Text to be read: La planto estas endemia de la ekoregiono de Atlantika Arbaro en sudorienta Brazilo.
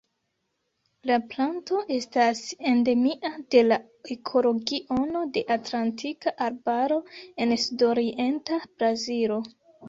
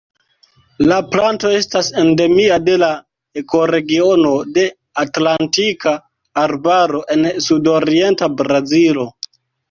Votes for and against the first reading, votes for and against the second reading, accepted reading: 0, 2, 2, 1, second